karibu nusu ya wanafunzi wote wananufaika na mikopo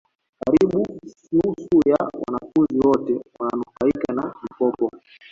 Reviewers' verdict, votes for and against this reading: rejected, 1, 2